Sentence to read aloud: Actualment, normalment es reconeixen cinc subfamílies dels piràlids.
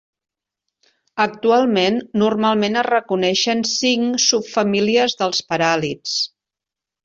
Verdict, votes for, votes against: rejected, 0, 2